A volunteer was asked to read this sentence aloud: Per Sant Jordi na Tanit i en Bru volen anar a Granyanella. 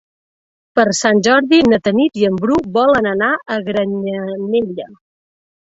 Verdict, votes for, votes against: accepted, 3, 0